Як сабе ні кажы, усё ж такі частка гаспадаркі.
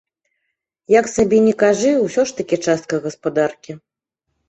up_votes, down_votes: 3, 0